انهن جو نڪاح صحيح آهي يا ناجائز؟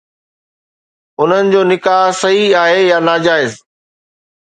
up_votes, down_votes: 2, 0